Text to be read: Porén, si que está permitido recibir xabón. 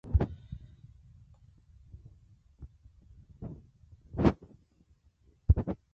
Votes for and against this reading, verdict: 0, 2, rejected